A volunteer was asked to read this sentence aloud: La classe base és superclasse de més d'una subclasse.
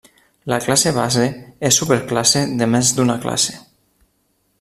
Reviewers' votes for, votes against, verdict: 1, 2, rejected